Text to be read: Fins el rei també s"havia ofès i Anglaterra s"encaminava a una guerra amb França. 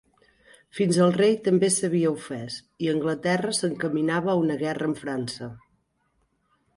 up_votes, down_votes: 2, 0